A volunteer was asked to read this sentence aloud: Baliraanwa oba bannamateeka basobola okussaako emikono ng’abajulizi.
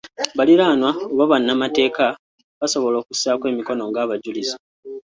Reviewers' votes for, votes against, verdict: 2, 1, accepted